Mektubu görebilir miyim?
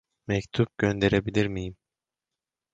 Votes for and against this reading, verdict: 0, 2, rejected